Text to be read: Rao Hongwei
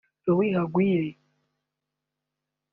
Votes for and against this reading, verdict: 1, 2, rejected